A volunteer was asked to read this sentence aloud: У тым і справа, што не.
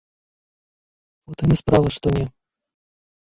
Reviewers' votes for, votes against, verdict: 2, 1, accepted